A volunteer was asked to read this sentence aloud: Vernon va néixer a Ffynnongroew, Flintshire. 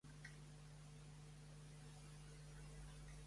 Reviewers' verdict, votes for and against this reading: rejected, 0, 2